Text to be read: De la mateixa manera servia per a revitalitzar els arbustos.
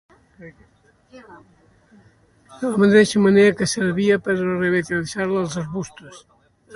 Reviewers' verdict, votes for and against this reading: rejected, 1, 2